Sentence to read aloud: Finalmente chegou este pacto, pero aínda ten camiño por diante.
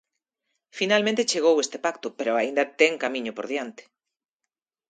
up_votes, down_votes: 5, 1